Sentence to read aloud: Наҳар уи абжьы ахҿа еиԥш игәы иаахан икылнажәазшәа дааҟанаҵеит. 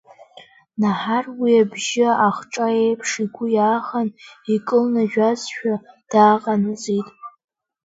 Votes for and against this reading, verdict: 1, 2, rejected